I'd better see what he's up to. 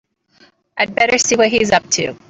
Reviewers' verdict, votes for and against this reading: accepted, 2, 0